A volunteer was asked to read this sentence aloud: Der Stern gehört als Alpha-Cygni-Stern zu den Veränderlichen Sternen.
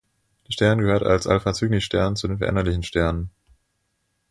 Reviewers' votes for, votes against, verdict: 2, 0, accepted